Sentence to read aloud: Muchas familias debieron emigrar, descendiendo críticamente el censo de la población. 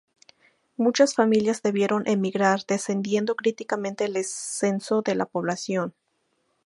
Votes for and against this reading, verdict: 4, 0, accepted